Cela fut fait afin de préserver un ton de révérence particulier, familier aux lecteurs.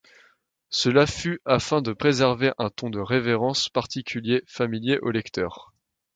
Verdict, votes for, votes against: rejected, 0, 2